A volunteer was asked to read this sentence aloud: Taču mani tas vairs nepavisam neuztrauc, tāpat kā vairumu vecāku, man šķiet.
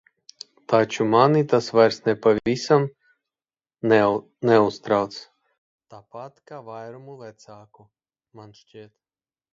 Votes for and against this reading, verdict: 0, 2, rejected